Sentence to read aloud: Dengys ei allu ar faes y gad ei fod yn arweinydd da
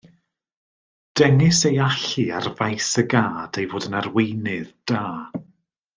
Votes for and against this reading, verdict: 2, 0, accepted